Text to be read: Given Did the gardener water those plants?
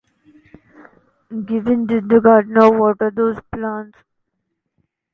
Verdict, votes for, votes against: rejected, 0, 2